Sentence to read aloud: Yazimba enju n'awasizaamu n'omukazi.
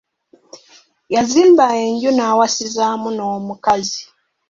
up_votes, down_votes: 2, 0